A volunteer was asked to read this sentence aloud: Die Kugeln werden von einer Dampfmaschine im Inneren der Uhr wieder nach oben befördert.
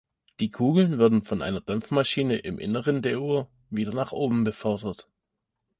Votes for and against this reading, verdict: 2, 0, accepted